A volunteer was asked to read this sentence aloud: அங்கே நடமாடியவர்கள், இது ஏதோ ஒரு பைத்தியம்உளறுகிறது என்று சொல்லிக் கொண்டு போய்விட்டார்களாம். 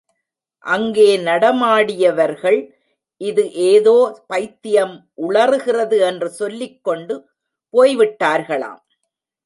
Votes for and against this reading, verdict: 1, 2, rejected